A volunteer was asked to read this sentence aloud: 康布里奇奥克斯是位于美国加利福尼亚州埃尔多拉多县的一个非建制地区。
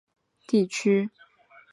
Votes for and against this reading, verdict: 0, 2, rejected